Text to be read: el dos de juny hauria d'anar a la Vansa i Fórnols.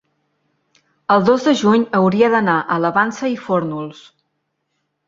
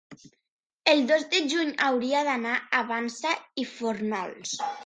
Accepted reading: first